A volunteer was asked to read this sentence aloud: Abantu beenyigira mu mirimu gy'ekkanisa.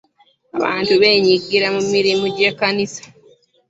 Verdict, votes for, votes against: accepted, 2, 1